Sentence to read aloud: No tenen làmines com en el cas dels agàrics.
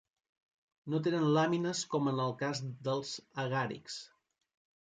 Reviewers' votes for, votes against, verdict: 3, 0, accepted